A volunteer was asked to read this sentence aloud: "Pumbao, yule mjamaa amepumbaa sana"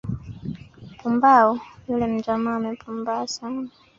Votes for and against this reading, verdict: 1, 2, rejected